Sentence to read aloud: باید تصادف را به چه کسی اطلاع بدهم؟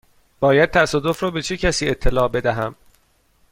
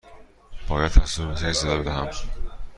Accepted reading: first